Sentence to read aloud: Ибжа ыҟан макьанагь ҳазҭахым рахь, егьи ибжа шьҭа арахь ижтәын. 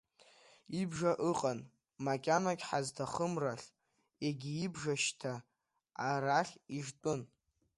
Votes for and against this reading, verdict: 1, 2, rejected